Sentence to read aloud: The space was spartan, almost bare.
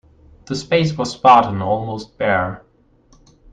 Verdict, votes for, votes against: accepted, 2, 0